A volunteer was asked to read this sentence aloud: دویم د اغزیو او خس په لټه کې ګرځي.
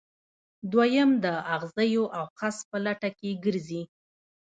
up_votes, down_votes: 2, 0